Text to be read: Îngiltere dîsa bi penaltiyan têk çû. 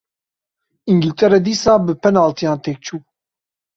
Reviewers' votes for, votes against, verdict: 2, 0, accepted